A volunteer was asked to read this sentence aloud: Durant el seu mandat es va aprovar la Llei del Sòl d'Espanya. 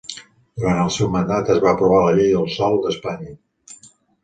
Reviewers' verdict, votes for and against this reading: accepted, 2, 1